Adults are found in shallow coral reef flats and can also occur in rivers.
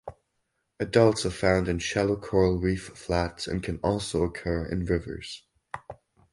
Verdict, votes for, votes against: accepted, 4, 0